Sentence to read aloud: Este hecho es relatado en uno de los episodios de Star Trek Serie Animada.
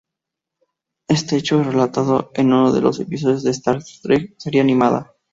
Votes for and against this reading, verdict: 2, 0, accepted